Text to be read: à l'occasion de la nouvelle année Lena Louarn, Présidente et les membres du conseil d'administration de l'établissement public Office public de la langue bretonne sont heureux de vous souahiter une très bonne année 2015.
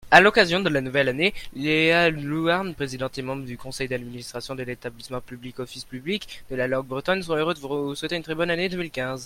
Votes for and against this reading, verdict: 0, 2, rejected